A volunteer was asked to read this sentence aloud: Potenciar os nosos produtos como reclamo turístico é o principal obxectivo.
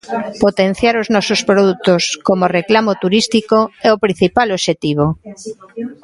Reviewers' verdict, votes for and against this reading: rejected, 1, 2